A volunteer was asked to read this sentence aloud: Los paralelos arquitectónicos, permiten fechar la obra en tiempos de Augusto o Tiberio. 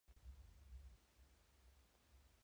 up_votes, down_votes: 0, 2